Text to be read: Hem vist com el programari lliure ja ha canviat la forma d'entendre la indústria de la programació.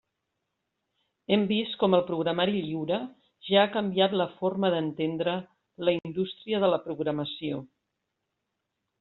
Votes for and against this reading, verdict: 3, 0, accepted